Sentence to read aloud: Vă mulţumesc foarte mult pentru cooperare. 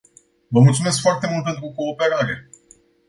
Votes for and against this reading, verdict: 2, 0, accepted